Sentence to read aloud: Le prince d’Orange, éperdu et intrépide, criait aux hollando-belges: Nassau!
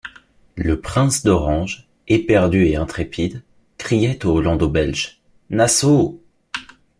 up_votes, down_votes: 2, 0